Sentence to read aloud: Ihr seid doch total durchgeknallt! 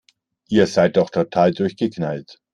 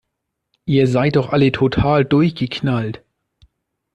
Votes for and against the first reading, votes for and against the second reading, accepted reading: 2, 0, 0, 2, first